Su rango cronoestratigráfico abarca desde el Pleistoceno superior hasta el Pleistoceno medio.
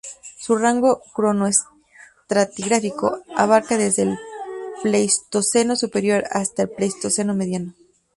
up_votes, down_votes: 0, 6